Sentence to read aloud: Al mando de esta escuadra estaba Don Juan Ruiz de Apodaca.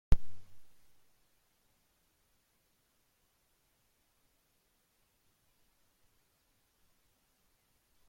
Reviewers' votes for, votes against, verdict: 0, 2, rejected